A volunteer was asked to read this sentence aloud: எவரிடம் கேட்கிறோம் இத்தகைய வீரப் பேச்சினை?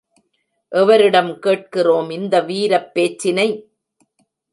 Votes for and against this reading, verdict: 0, 2, rejected